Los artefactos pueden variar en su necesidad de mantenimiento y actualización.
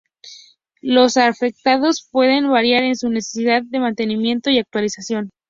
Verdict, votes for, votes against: rejected, 0, 2